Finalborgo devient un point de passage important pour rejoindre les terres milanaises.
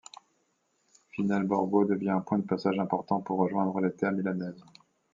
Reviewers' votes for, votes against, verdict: 2, 0, accepted